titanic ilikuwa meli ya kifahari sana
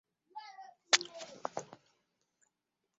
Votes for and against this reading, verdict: 1, 5, rejected